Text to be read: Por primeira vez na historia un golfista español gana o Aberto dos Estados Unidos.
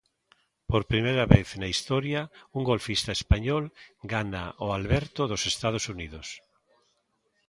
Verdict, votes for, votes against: rejected, 1, 2